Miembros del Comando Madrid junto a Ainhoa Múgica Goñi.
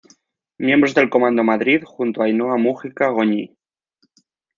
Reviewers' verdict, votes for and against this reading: accepted, 4, 0